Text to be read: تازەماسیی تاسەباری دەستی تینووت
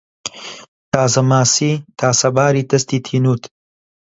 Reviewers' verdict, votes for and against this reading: accepted, 2, 0